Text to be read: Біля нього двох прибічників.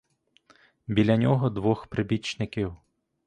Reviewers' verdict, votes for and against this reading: accepted, 2, 0